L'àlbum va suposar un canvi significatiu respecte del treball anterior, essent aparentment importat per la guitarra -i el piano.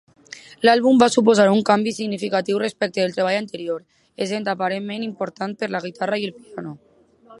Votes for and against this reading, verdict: 2, 1, accepted